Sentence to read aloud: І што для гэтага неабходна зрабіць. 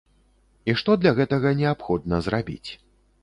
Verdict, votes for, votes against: accepted, 2, 0